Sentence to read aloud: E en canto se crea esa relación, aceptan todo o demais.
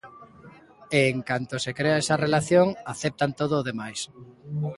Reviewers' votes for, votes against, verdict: 2, 0, accepted